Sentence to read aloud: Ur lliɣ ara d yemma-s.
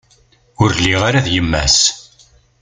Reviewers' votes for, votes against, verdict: 2, 0, accepted